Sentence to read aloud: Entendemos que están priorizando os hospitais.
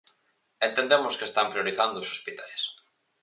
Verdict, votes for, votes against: accepted, 4, 0